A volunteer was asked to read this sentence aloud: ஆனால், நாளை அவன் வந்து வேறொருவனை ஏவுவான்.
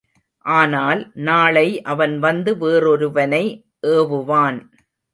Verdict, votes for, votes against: accepted, 2, 0